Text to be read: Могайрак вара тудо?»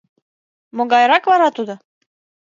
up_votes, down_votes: 2, 0